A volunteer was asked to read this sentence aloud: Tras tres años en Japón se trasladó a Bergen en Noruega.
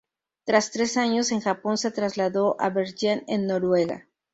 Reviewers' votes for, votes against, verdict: 2, 0, accepted